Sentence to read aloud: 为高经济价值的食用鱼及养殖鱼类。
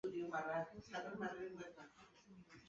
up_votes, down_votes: 0, 2